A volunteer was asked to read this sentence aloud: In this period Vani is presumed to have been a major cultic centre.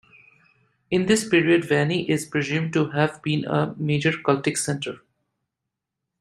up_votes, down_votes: 2, 0